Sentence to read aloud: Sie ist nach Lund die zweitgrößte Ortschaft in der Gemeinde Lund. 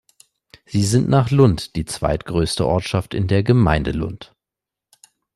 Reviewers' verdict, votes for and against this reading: rejected, 1, 2